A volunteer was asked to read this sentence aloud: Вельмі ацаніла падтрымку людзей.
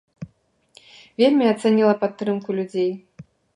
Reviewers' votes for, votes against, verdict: 2, 0, accepted